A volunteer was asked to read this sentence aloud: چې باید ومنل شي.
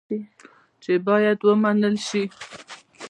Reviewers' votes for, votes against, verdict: 1, 2, rejected